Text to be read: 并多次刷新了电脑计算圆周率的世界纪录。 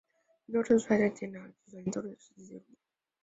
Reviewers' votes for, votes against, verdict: 0, 3, rejected